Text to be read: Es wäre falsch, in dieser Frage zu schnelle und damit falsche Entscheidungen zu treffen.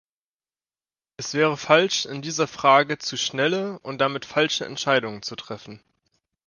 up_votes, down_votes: 2, 0